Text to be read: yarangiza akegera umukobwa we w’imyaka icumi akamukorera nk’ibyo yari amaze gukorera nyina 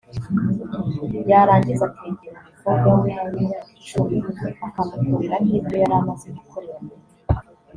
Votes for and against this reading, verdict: 0, 2, rejected